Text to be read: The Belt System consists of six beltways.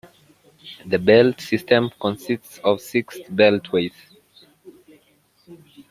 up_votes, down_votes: 2, 0